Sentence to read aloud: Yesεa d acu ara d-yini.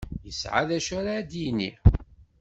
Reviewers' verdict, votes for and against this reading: accepted, 2, 0